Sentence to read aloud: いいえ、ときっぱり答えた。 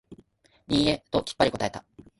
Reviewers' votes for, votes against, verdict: 2, 0, accepted